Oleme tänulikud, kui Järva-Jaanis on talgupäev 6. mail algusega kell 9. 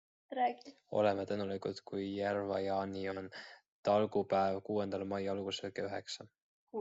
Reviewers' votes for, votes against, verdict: 0, 2, rejected